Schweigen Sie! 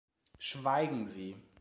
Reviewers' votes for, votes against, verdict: 2, 0, accepted